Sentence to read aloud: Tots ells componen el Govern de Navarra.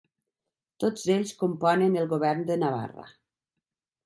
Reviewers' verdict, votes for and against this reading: accepted, 3, 0